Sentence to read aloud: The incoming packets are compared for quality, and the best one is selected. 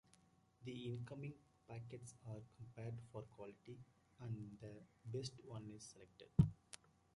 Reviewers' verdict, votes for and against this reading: accepted, 2, 1